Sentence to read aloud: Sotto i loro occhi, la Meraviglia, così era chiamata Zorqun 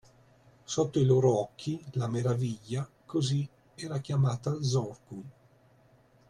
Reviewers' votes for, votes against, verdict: 2, 1, accepted